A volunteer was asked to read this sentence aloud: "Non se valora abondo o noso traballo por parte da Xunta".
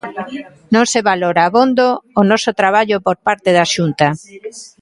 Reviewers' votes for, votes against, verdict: 1, 2, rejected